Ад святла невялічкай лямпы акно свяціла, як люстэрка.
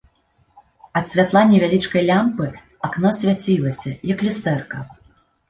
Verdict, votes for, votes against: rejected, 1, 2